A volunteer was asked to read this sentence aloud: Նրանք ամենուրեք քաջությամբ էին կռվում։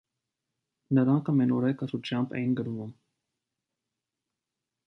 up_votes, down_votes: 2, 0